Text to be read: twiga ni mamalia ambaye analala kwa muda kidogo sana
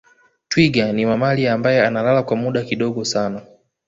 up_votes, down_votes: 2, 0